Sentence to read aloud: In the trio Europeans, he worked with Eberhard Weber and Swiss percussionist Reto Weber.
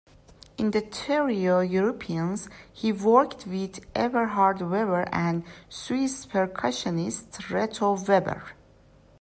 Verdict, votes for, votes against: rejected, 1, 2